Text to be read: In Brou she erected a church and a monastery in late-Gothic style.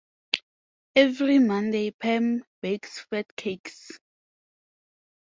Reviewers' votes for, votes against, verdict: 0, 4, rejected